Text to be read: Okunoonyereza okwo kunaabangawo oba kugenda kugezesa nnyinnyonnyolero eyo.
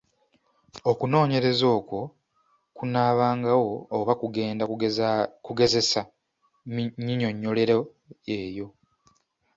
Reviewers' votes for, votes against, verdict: 3, 0, accepted